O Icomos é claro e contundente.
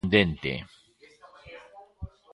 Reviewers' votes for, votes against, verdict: 0, 2, rejected